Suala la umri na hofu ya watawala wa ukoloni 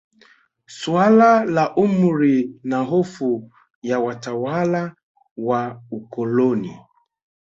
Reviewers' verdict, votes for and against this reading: rejected, 1, 2